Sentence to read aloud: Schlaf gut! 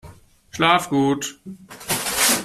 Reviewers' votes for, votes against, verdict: 2, 0, accepted